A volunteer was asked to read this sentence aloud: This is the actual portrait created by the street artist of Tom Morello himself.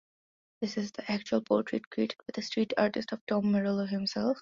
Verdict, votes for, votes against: accepted, 2, 0